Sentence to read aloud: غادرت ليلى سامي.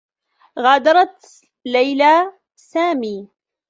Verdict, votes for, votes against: rejected, 1, 2